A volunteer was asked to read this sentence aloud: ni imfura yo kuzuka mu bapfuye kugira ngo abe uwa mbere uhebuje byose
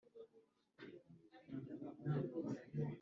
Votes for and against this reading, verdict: 0, 3, rejected